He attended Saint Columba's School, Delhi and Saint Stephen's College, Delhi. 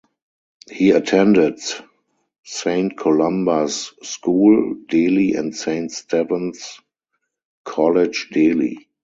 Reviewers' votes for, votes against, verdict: 0, 4, rejected